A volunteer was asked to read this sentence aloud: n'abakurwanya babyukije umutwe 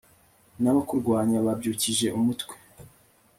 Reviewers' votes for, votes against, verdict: 2, 0, accepted